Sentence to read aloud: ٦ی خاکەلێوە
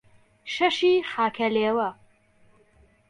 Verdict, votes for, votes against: rejected, 0, 2